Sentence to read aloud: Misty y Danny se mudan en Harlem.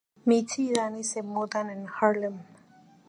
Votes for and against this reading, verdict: 2, 0, accepted